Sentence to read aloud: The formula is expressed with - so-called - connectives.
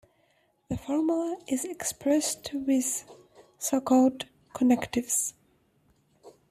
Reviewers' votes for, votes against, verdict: 2, 1, accepted